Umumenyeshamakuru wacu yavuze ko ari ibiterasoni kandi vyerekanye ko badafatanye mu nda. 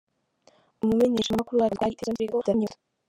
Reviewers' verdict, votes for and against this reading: rejected, 0, 2